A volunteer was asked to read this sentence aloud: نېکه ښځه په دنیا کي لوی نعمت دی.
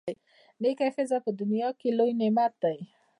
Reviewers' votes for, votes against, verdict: 0, 2, rejected